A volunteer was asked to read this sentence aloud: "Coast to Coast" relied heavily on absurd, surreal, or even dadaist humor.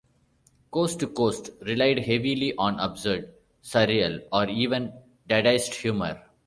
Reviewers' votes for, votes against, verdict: 2, 0, accepted